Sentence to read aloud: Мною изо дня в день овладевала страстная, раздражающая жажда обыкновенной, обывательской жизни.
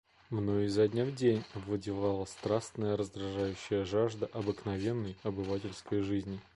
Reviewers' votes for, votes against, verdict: 2, 0, accepted